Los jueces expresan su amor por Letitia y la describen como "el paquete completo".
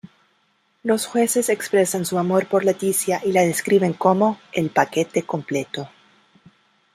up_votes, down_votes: 0, 2